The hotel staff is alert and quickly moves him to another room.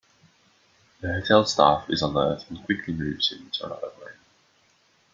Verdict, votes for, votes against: rejected, 1, 2